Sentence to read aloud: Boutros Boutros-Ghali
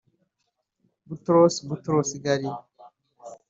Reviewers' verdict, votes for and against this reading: rejected, 0, 2